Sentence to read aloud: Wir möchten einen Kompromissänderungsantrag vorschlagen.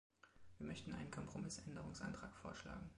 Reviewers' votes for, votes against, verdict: 2, 1, accepted